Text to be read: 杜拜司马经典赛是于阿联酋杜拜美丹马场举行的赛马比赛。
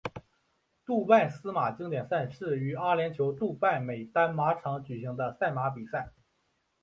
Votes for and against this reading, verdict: 2, 0, accepted